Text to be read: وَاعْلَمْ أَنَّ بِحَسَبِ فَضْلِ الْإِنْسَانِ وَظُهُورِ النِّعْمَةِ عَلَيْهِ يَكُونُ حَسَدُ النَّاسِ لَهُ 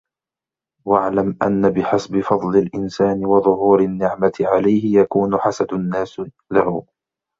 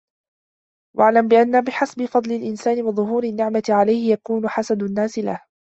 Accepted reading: first